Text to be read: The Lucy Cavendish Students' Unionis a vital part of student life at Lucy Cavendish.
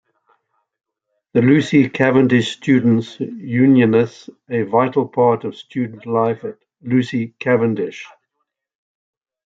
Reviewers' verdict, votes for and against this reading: rejected, 1, 2